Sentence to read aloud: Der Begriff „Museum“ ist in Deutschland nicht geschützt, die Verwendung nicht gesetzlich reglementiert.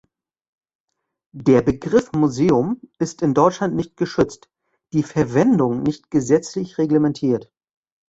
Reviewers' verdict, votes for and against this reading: accepted, 2, 0